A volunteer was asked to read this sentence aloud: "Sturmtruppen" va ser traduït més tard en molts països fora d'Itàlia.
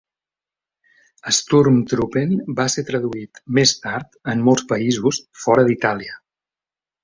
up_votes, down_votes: 2, 0